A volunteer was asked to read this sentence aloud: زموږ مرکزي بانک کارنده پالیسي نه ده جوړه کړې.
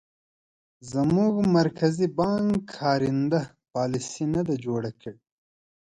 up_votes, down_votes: 3, 1